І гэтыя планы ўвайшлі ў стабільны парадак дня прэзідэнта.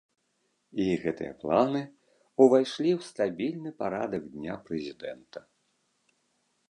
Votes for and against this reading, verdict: 2, 0, accepted